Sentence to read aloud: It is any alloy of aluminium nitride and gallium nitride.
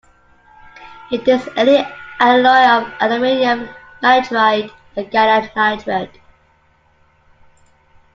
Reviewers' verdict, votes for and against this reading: rejected, 0, 2